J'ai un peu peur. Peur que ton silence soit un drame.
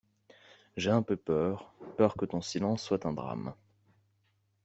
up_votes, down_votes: 2, 0